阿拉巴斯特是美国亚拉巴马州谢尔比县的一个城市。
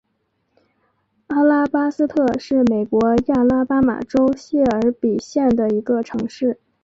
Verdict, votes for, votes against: accepted, 2, 0